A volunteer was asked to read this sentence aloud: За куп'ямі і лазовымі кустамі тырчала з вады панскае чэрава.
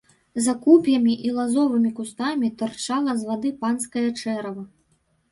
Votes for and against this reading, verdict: 3, 0, accepted